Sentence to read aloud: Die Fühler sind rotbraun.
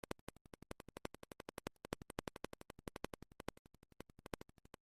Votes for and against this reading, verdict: 0, 2, rejected